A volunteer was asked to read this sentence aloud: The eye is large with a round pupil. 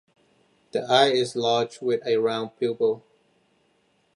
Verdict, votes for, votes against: accepted, 2, 0